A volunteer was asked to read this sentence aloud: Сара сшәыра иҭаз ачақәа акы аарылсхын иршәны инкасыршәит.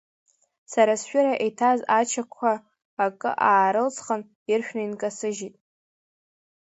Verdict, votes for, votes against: rejected, 0, 2